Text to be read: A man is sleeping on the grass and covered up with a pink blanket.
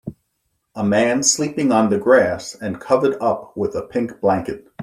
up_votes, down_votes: 1, 2